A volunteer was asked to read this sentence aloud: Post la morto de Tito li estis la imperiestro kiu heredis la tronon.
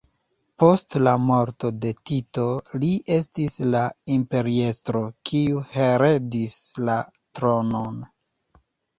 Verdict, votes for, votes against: rejected, 0, 2